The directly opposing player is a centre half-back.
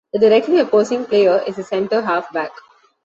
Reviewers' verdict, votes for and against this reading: accepted, 2, 0